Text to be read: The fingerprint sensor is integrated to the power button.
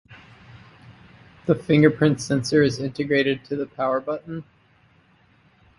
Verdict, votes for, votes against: accepted, 4, 0